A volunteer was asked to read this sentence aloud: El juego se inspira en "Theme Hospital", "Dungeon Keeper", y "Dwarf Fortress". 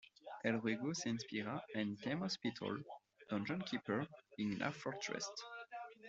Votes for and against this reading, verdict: 2, 1, accepted